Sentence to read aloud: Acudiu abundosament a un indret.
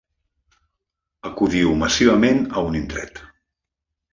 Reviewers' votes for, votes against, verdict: 0, 2, rejected